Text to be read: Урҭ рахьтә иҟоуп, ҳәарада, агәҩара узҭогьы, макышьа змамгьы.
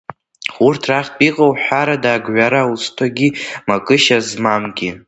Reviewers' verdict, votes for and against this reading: rejected, 1, 2